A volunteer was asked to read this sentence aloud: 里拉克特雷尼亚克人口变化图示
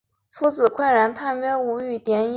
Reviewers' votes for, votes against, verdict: 0, 3, rejected